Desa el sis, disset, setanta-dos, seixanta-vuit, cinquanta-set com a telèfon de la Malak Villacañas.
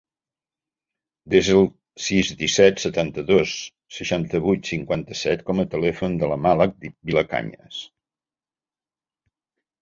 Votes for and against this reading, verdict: 0, 2, rejected